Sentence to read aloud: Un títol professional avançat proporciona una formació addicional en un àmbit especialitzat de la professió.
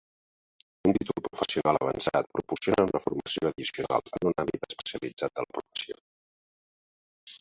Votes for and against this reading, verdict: 2, 1, accepted